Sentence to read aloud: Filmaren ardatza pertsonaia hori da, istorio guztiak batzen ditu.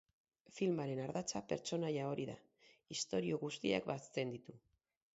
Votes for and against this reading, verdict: 0, 4, rejected